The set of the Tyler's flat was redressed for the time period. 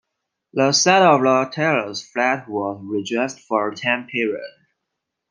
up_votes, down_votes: 0, 2